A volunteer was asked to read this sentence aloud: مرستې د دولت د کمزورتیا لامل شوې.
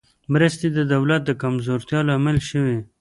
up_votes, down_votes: 0, 2